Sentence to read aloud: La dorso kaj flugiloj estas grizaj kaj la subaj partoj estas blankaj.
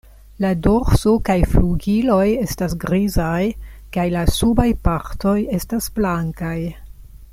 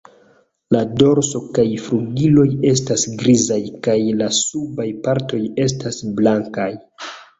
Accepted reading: first